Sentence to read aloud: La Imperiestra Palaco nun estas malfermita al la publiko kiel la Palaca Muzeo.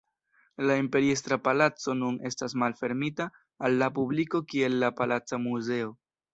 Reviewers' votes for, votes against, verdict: 3, 0, accepted